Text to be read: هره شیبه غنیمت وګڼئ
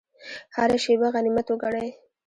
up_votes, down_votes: 0, 2